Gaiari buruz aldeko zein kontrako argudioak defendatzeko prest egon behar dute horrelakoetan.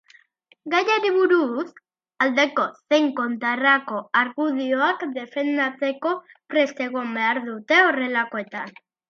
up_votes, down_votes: 1, 2